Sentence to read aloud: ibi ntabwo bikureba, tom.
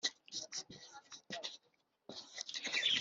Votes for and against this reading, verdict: 1, 2, rejected